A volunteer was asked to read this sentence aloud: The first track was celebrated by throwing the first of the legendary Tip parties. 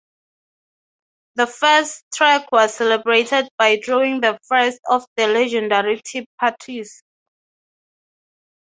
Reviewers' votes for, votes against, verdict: 3, 0, accepted